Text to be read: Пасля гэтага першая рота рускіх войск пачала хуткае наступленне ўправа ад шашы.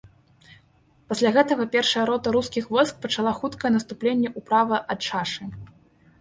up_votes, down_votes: 1, 3